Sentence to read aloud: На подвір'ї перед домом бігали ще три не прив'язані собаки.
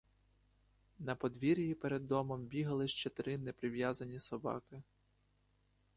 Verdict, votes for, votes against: accepted, 2, 0